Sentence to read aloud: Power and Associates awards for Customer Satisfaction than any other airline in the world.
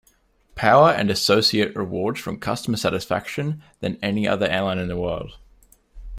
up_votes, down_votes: 2, 0